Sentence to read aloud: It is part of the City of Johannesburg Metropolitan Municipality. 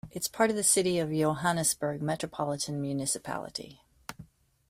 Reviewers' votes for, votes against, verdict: 2, 0, accepted